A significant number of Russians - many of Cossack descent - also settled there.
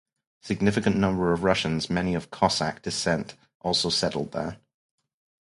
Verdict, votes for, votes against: rejected, 0, 2